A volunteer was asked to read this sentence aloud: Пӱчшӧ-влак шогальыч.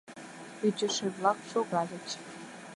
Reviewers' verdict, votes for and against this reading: rejected, 1, 2